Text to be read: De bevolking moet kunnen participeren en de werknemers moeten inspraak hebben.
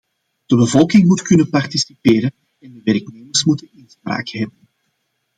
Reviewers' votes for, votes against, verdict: 1, 2, rejected